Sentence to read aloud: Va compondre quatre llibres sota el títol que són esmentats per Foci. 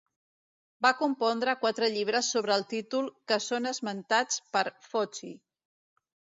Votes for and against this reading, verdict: 1, 2, rejected